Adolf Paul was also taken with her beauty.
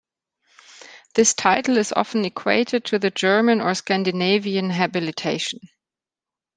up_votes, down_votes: 0, 2